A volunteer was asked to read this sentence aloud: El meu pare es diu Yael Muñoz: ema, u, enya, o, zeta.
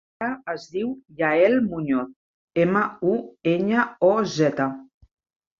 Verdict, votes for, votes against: rejected, 1, 2